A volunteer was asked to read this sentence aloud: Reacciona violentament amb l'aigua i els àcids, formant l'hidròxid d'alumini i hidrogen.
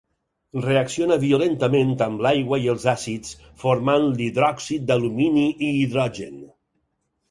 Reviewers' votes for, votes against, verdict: 6, 0, accepted